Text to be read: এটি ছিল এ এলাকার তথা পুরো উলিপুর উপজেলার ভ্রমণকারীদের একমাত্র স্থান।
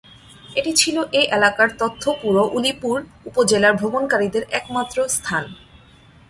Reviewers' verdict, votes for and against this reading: rejected, 0, 2